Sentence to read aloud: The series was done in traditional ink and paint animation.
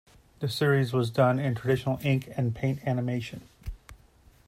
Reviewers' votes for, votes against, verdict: 2, 0, accepted